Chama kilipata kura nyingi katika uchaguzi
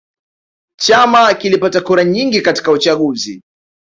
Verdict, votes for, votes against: accepted, 2, 0